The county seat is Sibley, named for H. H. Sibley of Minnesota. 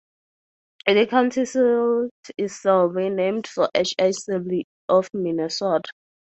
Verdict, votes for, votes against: rejected, 0, 4